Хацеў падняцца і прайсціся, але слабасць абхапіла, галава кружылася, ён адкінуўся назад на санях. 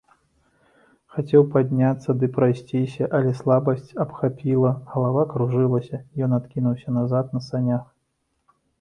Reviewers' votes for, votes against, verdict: 1, 2, rejected